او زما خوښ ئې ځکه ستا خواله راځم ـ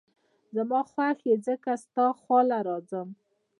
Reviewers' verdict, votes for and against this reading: rejected, 0, 2